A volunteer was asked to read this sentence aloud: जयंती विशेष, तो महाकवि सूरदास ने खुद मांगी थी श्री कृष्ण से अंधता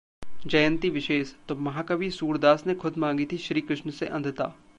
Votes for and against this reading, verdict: 1, 2, rejected